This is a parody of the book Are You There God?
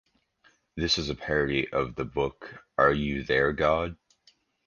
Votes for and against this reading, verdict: 2, 0, accepted